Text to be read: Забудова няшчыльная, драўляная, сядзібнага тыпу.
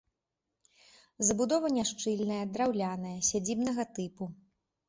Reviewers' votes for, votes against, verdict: 2, 0, accepted